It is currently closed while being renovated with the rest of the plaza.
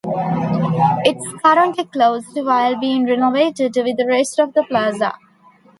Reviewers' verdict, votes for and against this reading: rejected, 0, 2